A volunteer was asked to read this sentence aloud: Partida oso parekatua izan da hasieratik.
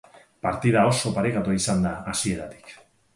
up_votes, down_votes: 2, 2